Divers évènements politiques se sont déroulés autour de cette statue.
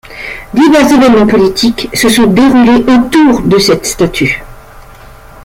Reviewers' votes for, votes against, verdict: 2, 0, accepted